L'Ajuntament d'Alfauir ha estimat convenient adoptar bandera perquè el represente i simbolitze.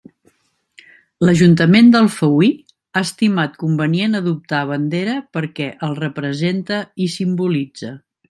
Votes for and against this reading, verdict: 2, 0, accepted